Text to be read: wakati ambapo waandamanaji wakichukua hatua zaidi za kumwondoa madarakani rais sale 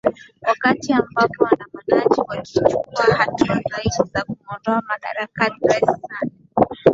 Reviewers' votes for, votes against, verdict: 2, 5, rejected